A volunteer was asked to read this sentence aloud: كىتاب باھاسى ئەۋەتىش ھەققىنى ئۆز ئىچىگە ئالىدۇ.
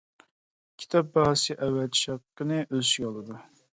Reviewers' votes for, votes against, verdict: 1, 2, rejected